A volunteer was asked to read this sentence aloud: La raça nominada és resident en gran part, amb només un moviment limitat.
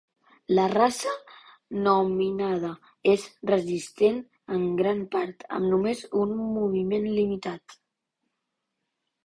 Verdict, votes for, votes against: rejected, 1, 2